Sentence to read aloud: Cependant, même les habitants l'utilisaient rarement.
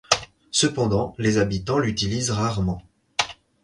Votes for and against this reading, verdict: 0, 4, rejected